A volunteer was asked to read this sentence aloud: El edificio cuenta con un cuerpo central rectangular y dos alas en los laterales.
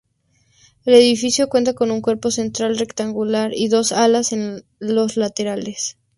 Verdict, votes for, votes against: rejected, 2, 2